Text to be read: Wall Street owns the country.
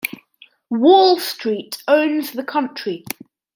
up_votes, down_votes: 2, 0